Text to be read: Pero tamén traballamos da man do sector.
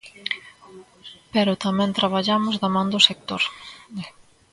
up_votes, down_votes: 1, 2